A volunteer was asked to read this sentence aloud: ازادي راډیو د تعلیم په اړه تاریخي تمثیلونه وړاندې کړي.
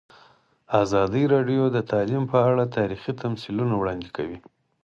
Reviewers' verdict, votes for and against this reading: accepted, 4, 0